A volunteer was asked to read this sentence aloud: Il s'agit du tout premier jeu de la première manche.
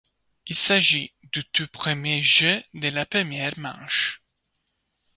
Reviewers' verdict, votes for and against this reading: rejected, 0, 2